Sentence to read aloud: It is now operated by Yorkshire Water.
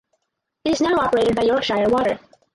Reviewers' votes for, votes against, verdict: 4, 0, accepted